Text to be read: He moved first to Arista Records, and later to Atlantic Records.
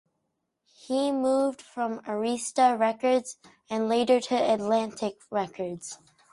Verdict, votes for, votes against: rejected, 0, 4